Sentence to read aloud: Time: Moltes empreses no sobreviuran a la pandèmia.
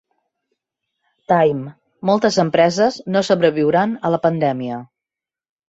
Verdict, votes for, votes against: accepted, 3, 0